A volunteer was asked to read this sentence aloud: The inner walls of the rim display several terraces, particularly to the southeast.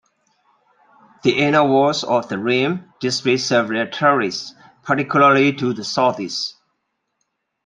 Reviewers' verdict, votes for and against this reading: accepted, 2, 1